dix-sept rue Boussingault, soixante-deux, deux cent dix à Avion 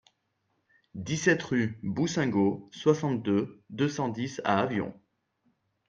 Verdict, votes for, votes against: accepted, 3, 0